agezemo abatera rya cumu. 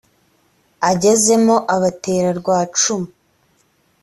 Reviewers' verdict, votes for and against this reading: accepted, 2, 0